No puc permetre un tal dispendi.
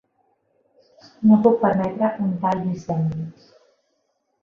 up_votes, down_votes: 2, 0